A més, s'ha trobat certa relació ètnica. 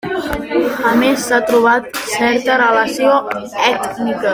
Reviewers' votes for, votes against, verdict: 1, 2, rejected